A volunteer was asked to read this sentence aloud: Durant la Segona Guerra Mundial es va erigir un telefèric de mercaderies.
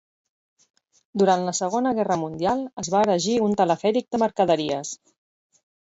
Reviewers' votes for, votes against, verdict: 0, 4, rejected